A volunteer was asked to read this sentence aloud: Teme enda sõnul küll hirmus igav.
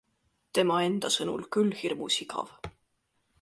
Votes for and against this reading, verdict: 1, 2, rejected